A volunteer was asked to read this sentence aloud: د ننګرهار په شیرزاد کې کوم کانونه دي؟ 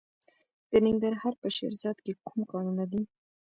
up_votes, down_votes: 1, 2